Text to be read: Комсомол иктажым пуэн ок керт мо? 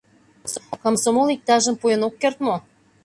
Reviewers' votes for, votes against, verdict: 2, 0, accepted